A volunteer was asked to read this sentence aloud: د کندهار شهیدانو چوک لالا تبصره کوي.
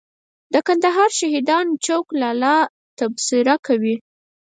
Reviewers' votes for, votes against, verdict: 2, 4, rejected